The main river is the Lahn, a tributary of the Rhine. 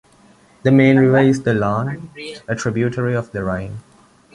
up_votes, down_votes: 1, 2